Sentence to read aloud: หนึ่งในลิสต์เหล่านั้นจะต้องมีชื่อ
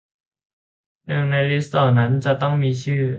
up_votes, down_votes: 2, 0